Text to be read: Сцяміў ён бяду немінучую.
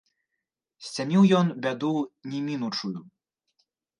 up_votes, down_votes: 1, 3